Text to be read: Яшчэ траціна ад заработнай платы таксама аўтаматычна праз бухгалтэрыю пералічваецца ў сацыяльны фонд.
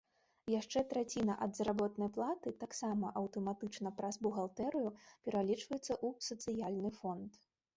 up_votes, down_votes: 1, 2